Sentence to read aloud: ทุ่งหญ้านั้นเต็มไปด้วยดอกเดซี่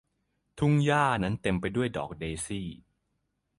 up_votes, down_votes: 3, 0